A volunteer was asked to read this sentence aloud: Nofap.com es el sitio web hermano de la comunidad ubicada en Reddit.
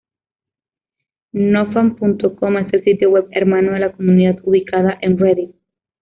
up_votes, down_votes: 0, 2